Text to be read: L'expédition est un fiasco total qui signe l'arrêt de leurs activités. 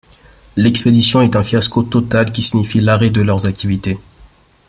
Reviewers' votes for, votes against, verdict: 1, 2, rejected